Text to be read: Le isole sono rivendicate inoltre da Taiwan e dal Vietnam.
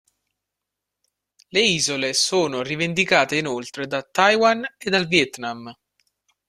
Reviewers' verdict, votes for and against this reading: accepted, 2, 0